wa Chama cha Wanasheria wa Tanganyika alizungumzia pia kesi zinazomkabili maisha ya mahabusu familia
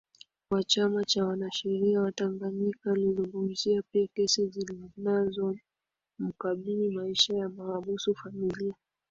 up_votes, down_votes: 2, 1